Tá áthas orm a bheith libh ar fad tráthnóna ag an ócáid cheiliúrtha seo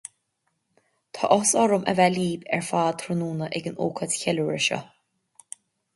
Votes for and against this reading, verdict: 2, 0, accepted